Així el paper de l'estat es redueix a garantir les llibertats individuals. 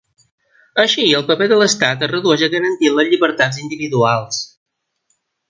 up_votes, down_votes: 2, 1